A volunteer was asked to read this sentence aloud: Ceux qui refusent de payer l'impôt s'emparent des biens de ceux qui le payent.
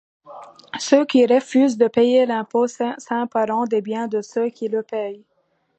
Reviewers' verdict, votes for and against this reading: rejected, 0, 2